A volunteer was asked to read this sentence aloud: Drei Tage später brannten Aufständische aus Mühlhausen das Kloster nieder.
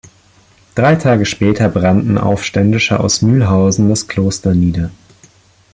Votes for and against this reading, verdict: 2, 0, accepted